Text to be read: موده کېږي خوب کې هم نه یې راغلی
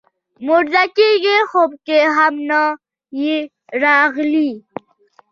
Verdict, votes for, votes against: accepted, 2, 0